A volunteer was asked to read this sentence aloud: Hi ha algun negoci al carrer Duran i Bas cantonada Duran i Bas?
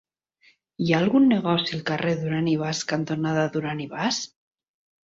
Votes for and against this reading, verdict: 3, 0, accepted